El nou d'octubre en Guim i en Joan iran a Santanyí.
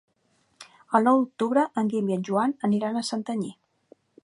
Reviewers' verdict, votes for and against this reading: rejected, 1, 2